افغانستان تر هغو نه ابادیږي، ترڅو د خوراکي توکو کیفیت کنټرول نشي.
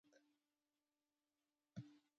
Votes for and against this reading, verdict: 1, 2, rejected